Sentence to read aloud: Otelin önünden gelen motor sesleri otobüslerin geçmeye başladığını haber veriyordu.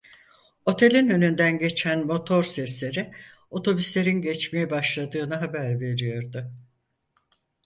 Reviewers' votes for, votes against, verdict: 0, 4, rejected